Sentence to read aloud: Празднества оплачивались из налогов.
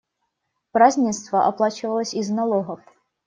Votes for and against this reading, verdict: 1, 2, rejected